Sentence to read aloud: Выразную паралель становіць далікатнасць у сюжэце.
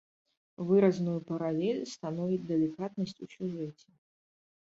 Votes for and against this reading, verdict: 0, 2, rejected